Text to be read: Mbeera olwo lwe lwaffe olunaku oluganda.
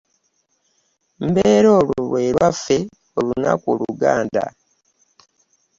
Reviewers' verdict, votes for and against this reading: accepted, 2, 0